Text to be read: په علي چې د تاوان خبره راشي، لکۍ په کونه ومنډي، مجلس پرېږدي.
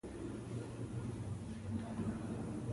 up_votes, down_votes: 1, 2